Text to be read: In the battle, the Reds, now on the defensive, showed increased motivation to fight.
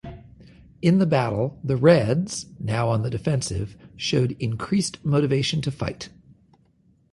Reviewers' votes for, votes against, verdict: 2, 0, accepted